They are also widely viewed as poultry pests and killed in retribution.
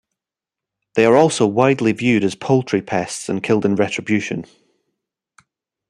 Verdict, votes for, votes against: accepted, 2, 0